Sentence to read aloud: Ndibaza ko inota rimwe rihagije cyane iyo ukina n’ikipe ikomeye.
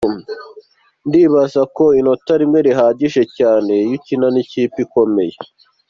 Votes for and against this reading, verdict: 2, 0, accepted